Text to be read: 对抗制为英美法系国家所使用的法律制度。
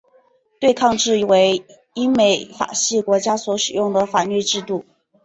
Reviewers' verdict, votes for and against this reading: rejected, 1, 2